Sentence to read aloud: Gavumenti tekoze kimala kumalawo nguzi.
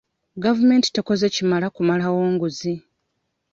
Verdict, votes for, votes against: accepted, 2, 0